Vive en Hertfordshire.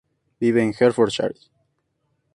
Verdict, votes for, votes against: accepted, 2, 0